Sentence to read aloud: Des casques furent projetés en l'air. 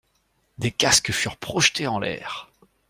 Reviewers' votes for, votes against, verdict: 2, 0, accepted